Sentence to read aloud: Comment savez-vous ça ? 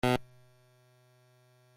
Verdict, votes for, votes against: rejected, 0, 2